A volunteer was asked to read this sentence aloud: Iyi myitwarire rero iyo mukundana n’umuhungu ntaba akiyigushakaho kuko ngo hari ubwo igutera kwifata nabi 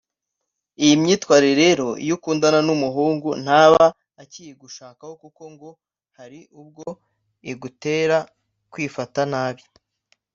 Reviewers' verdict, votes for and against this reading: rejected, 1, 2